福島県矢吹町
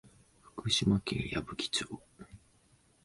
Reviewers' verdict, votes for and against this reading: accepted, 2, 0